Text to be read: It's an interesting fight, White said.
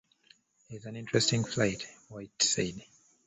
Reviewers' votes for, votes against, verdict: 2, 1, accepted